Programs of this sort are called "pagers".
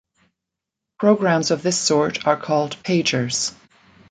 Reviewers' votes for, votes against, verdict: 2, 0, accepted